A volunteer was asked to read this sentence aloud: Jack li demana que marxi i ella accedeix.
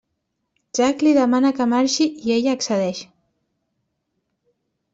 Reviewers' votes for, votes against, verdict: 3, 0, accepted